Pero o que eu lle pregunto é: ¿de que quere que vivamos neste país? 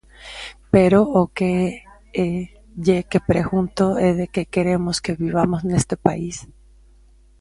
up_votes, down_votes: 1, 2